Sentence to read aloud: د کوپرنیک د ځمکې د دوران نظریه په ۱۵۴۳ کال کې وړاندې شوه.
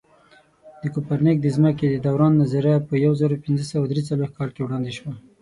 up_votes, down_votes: 0, 2